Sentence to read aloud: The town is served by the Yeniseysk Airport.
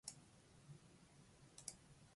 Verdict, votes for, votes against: rejected, 0, 2